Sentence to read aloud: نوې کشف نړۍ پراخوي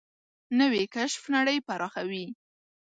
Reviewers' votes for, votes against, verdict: 2, 0, accepted